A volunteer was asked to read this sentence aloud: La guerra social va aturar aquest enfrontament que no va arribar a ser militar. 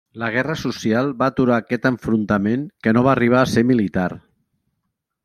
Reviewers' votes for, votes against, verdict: 3, 0, accepted